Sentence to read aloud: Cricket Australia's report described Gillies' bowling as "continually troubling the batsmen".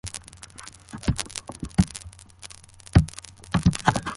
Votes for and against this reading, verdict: 0, 2, rejected